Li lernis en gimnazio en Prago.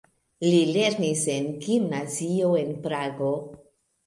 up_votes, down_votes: 1, 2